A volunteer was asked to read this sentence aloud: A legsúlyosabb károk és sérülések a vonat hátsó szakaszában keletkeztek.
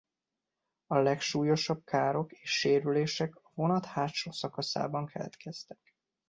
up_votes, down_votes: 2, 1